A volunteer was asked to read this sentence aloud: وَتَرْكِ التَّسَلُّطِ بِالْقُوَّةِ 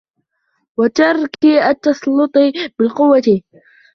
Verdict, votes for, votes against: rejected, 0, 2